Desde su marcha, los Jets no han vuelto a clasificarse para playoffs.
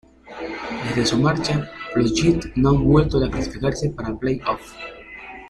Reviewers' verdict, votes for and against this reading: rejected, 0, 2